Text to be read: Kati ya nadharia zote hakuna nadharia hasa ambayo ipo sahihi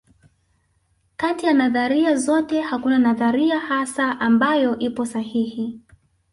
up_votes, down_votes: 0, 2